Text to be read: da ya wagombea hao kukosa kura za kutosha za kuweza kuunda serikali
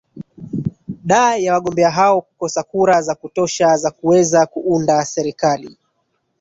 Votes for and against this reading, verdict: 2, 3, rejected